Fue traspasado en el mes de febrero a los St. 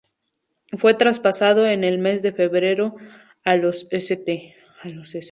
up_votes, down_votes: 2, 0